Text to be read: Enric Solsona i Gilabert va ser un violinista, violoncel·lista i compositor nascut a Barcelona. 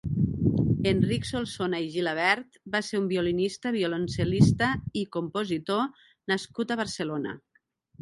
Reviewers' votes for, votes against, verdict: 1, 2, rejected